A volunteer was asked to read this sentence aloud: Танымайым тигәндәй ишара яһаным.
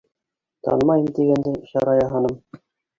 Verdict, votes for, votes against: rejected, 0, 2